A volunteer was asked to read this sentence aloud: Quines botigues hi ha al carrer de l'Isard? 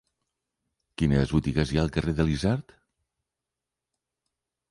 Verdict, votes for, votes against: accepted, 3, 0